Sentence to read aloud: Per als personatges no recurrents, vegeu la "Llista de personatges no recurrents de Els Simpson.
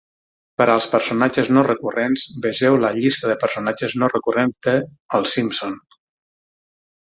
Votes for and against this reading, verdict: 3, 9, rejected